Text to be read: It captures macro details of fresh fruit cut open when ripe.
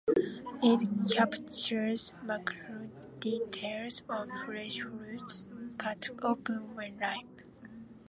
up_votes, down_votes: 2, 0